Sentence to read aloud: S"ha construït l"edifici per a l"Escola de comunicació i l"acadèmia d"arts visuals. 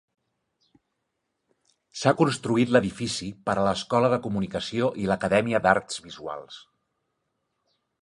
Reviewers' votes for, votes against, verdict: 2, 0, accepted